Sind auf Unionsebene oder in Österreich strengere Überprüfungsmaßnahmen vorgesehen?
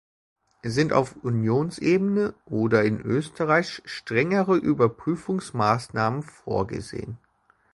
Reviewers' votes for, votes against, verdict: 2, 0, accepted